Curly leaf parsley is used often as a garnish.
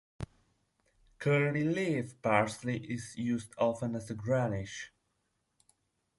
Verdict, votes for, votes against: rejected, 0, 2